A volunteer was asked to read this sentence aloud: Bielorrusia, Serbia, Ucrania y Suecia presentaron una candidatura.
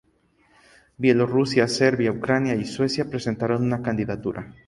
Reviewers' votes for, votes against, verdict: 0, 2, rejected